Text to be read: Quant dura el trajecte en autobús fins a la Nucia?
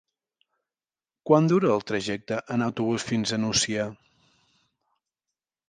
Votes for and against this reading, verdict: 1, 2, rejected